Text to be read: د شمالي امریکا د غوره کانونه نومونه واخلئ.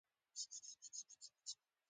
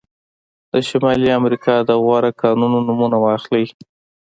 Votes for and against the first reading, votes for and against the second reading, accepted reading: 1, 2, 2, 0, second